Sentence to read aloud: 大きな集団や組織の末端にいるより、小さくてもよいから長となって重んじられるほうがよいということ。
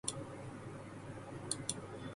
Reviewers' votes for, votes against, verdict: 1, 2, rejected